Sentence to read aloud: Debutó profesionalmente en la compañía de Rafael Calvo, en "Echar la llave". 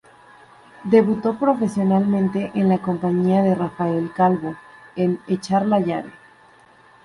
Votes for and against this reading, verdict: 2, 0, accepted